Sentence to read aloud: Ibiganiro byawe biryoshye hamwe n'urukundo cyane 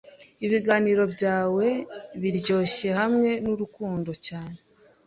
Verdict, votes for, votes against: accepted, 2, 0